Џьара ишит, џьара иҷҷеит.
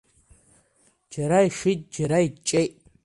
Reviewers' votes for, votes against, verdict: 2, 0, accepted